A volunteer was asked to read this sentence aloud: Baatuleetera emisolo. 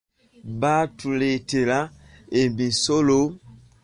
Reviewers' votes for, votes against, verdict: 2, 0, accepted